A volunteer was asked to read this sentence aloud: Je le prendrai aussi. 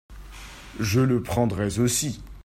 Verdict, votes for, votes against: rejected, 1, 2